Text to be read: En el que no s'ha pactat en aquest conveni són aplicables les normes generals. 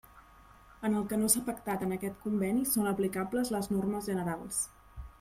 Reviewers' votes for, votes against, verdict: 2, 0, accepted